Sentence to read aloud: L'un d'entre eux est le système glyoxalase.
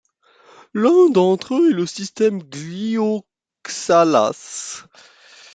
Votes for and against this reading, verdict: 1, 2, rejected